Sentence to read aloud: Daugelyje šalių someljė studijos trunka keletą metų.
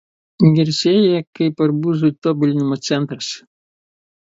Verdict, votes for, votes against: rejected, 0, 2